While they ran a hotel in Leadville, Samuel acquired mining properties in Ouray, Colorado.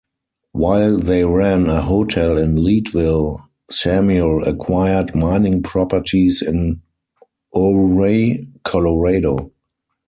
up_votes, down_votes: 2, 4